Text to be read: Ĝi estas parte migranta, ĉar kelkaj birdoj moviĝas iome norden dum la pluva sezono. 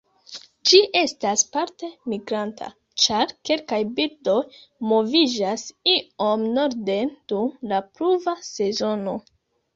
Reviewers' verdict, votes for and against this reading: rejected, 1, 3